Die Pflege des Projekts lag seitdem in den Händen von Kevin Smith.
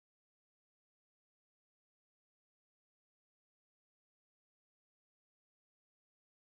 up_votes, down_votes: 0, 2